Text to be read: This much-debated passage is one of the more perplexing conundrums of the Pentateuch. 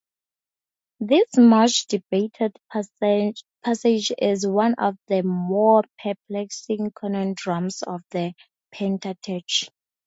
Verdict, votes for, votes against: rejected, 0, 2